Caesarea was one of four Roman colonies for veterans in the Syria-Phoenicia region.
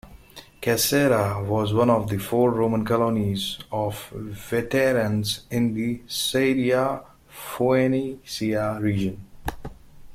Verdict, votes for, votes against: rejected, 0, 2